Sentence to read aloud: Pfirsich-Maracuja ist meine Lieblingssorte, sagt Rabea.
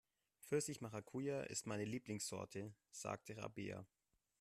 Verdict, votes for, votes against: rejected, 1, 2